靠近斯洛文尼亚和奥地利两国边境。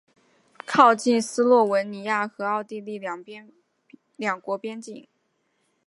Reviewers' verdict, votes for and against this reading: rejected, 1, 2